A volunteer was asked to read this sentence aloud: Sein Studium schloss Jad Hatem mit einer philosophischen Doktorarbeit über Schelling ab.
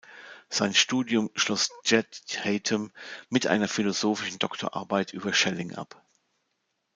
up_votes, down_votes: 0, 2